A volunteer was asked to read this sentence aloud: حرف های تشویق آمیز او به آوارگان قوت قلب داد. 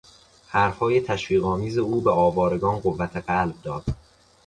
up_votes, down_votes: 2, 0